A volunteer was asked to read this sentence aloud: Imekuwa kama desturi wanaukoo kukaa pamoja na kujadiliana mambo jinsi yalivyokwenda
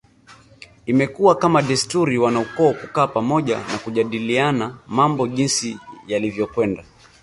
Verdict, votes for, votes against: accepted, 2, 0